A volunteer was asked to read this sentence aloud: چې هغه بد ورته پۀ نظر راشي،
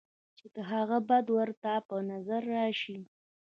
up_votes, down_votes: 1, 2